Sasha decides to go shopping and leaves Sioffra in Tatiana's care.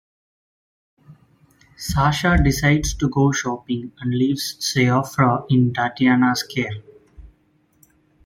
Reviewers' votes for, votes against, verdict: 2, 0, accepted